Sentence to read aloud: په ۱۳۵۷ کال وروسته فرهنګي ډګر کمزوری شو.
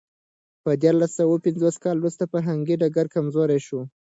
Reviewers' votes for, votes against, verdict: 0, 2, rejected